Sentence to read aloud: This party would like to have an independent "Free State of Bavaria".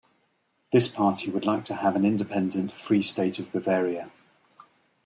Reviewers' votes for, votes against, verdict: 2, 0, accepted